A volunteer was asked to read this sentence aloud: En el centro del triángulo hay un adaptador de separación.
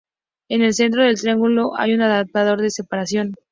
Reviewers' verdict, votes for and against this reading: accepted, 2, 0